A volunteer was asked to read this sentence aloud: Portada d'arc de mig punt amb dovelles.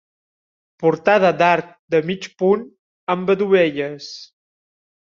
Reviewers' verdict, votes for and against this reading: rejected, 0, 2